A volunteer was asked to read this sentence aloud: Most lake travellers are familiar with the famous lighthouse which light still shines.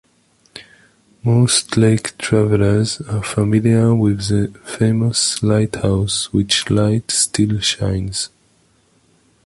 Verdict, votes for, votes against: accepted, 2, 0